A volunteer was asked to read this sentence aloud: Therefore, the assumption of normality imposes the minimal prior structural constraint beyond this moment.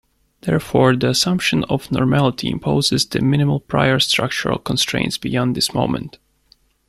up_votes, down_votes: 0, 2